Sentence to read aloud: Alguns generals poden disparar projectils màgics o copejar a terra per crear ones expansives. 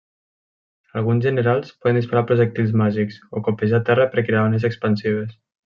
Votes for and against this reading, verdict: 0, 2, rejected